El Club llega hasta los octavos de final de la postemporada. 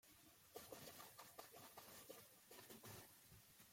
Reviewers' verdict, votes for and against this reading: rejected, 0, 2